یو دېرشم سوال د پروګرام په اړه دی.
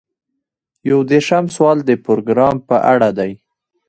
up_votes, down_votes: 2, 0